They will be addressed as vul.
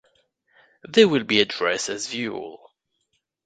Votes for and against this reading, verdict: 2, 0, accepted